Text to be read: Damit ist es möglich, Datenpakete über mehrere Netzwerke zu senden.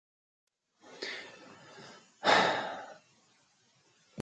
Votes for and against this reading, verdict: 0, 2, rejected